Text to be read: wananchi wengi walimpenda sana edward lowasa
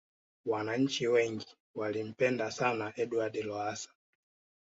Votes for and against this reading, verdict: 2, 0, accepted